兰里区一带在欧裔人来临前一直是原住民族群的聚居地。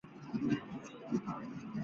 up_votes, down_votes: 1, 2